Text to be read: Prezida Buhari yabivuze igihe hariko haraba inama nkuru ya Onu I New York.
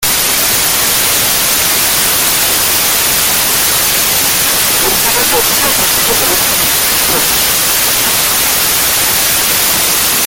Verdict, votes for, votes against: rejected, 0, 2